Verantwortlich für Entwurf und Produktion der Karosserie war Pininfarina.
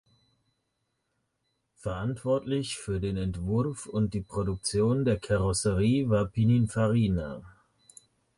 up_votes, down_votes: 0, 2